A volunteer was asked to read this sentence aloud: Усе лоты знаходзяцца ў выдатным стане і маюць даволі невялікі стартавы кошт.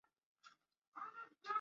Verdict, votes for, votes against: rejected, 0, 2